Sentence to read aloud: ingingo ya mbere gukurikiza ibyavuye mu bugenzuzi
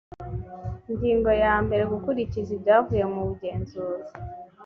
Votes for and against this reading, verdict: 5, 0, accepted